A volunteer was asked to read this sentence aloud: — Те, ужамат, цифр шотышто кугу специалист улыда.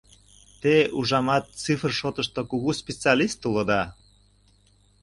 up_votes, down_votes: 2, 0